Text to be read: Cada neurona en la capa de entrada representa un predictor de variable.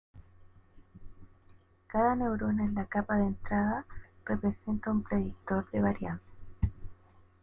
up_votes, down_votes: 1, 2